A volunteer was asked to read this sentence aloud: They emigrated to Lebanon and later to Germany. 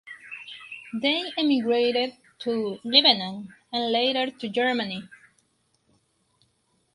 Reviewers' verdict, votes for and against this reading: accepted, 4, 0